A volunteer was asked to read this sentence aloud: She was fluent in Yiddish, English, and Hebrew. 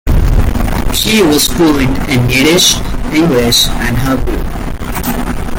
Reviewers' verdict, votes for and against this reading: accepted, 2, 1